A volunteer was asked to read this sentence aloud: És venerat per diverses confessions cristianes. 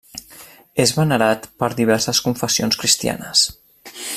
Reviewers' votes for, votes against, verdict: 3, 0, accepted